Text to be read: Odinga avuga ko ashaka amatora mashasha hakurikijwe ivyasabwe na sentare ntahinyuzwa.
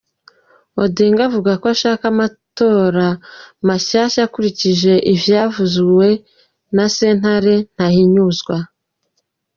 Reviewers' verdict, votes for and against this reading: rejected, 1, 2